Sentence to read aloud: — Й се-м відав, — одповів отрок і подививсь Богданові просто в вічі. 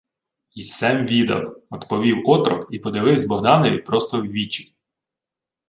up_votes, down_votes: 2, 0